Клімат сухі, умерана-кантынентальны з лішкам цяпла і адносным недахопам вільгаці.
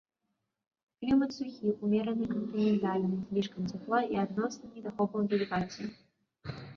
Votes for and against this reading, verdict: 0, 2, rejected